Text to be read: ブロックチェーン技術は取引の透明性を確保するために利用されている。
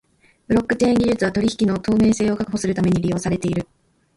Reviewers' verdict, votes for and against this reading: accepted, 2, 1